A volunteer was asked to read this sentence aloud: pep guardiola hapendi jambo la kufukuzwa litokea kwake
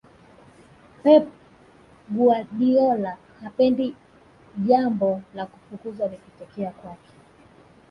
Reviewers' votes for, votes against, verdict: 1, 2, rejected